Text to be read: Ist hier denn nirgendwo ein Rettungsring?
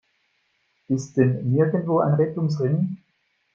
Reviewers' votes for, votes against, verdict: 1, 2, rejected